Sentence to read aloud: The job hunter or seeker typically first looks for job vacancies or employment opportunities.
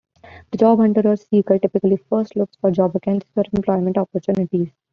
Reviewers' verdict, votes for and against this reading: rejected, 1, 2